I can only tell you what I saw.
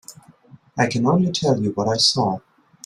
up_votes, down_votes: 2, 0